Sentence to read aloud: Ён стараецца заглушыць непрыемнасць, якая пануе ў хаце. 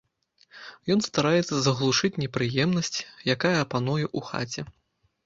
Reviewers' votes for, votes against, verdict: 2, 1, accepted